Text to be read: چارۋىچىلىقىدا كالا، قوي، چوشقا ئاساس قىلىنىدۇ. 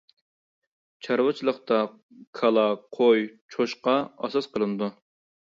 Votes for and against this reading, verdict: 1, 2, rejected